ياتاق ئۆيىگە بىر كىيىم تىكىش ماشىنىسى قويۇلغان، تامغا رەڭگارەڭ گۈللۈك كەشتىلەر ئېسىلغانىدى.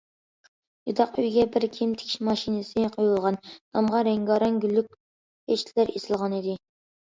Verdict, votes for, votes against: rejected, 1, 2